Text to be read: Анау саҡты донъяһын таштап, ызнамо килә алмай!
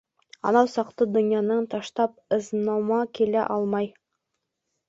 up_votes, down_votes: 0, 2